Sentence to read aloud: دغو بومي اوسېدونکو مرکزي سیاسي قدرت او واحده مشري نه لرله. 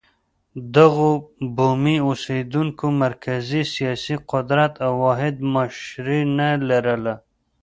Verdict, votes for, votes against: rejected, 1, 2